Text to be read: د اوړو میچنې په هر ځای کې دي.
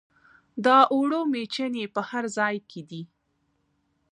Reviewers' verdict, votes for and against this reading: accepted, 2, 1